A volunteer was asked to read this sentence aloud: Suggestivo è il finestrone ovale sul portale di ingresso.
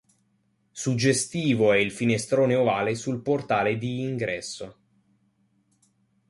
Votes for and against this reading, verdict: 2, 0, accepted